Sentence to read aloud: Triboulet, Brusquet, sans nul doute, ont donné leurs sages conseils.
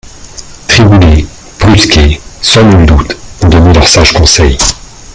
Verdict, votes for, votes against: rejected, 1, 2